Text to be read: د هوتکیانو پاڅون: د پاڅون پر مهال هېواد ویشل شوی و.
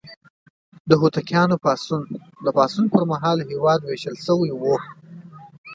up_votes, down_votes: 2, 0